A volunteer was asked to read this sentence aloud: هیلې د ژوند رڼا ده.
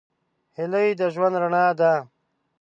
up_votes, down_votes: 0, 2